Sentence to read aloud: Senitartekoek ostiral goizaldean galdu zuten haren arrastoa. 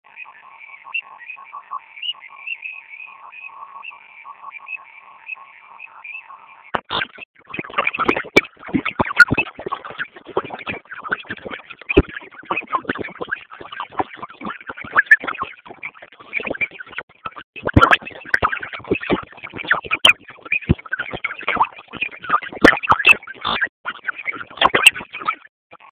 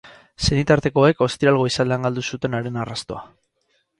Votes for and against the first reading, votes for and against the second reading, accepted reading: 0, 4, 6, 0, second